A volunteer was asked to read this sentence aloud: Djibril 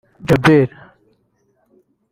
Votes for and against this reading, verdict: 0, 2, rejected